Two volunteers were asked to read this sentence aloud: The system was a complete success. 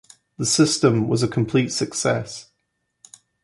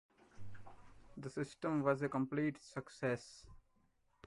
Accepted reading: first